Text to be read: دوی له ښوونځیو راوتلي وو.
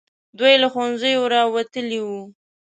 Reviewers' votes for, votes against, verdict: 2, 0, accepted